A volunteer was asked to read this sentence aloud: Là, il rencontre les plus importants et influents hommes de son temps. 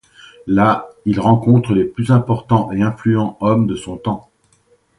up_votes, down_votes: 2, 0